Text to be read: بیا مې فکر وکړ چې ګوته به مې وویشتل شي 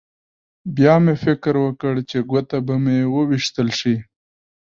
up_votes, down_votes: 2, 0